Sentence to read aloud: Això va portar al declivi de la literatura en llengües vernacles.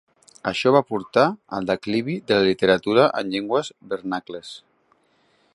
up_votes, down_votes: 2, 0